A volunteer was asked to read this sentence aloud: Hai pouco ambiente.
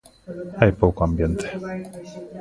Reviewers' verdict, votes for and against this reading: accepted, 2, 0